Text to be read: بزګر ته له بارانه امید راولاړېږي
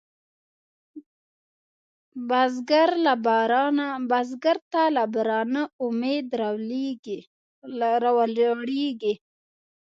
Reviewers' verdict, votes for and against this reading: rejected, 0, 2